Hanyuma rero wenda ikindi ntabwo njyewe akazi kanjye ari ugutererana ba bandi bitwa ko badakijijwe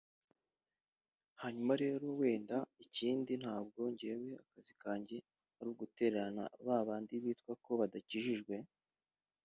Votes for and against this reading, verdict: 1, 2, rejected